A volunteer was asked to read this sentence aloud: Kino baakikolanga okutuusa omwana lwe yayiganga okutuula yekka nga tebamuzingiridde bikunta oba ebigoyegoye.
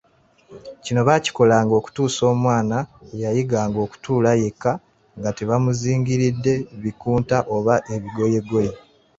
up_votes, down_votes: 2, 1